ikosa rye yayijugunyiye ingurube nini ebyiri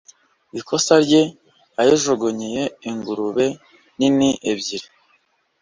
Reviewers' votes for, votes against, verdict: 2, 0, accepted